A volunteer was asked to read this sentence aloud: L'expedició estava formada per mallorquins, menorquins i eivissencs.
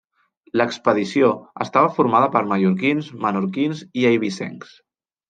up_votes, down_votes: 2, 0